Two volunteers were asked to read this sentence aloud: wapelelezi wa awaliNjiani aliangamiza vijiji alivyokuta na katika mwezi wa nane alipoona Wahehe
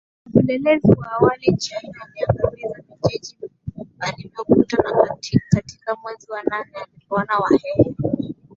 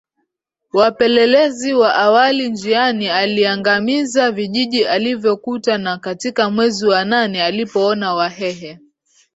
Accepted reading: second